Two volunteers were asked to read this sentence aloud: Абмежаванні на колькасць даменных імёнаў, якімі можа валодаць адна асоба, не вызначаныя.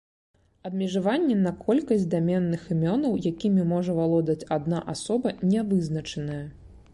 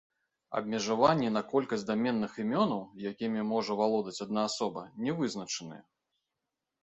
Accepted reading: first